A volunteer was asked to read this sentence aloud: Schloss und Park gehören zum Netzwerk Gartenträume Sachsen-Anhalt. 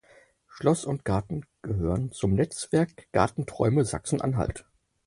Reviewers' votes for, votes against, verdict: 4, 6, rejected